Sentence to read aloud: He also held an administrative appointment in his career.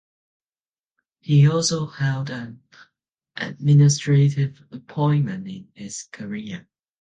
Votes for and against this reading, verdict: 2, 0, accepted